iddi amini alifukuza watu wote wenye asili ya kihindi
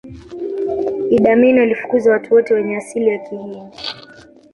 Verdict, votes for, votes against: rejected, 1, 2